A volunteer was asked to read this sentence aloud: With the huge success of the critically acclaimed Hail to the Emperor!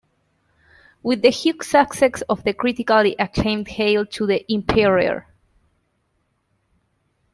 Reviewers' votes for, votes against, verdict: 1, 2, rejected